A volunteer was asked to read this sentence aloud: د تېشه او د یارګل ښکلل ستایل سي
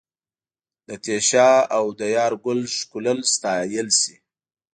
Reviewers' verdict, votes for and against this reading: accepted, 2, 0